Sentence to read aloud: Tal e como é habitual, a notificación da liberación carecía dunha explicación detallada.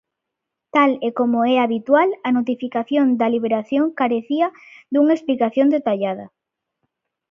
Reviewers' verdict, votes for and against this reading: accepted, 2, 0